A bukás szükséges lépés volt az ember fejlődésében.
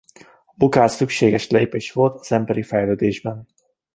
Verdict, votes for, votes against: rejected, 1, 2